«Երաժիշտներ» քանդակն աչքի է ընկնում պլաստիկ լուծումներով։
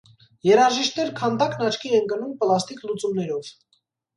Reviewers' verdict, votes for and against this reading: accepted, 2, 0